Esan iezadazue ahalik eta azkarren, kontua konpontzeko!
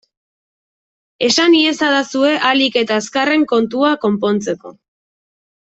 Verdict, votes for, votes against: accepted, 2, 0